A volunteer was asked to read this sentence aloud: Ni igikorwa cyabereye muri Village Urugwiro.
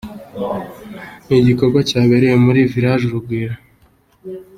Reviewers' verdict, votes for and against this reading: accepted, 2, 0